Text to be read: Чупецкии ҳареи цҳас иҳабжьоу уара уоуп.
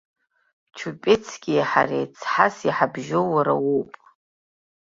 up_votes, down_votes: 2, 0